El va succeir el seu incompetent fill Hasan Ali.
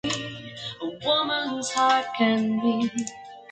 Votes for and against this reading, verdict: 0, 2, rejected